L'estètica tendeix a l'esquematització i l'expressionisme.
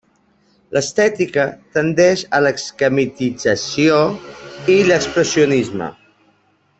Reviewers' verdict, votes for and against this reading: rejected, 0, 2